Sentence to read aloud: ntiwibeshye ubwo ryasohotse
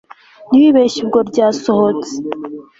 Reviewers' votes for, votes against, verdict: 2, 0, accepted